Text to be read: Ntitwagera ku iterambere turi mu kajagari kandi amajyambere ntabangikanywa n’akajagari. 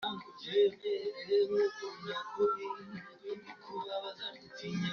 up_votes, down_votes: 0, 2